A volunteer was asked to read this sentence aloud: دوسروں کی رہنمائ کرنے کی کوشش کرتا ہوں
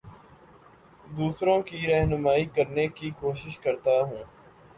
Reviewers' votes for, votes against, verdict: 2, 0, accepted